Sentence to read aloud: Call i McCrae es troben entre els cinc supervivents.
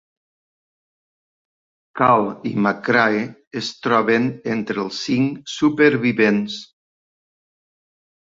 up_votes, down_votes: 3, 0